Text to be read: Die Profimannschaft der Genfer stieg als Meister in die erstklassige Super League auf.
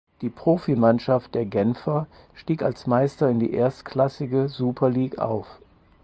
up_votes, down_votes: 4, 0